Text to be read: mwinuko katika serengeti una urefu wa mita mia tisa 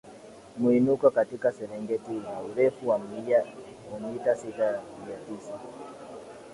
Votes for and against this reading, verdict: 2, 1, accepted